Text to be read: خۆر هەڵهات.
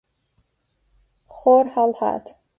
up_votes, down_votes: 2, 0